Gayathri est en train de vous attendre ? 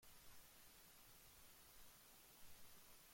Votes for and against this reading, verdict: 0, 2, rejected